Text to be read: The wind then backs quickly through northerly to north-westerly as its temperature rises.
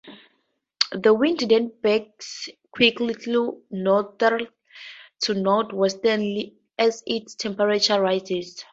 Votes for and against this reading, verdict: 0, 4, rejected